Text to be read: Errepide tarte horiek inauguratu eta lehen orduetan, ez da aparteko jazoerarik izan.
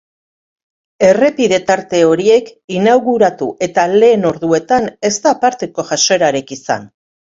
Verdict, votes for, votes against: accepted, 2, 0